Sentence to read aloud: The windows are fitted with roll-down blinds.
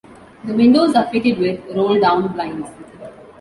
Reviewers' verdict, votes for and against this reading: accepted, 2, 1